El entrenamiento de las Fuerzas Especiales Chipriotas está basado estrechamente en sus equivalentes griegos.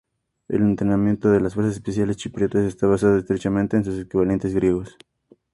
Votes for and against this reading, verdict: 2, 0, accepted